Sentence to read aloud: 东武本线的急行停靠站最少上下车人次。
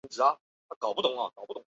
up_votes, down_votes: 0, 4